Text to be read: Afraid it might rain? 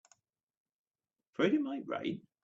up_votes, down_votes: 2, 1